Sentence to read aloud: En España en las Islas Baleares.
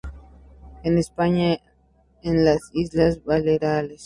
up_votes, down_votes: 2, 2